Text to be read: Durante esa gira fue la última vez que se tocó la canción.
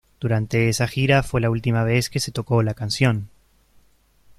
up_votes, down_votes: 2, 0